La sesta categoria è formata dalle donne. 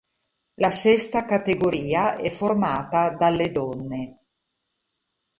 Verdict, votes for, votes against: rejected, 2, 2